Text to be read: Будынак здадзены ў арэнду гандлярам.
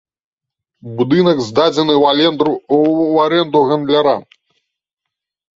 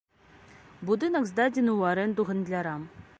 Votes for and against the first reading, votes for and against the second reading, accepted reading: 1, 2, 2, 0, second